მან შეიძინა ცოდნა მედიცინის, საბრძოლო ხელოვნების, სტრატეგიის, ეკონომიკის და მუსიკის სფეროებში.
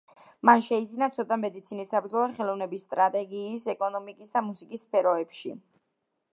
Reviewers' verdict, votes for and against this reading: accepted, 2, 0